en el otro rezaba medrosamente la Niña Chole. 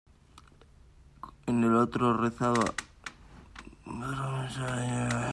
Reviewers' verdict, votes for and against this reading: rejected, 0, 2